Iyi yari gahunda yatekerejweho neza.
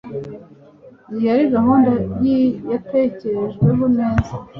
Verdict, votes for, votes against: accepted, 2, 0